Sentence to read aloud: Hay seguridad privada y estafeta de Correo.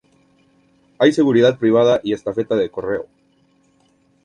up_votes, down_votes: 2, 2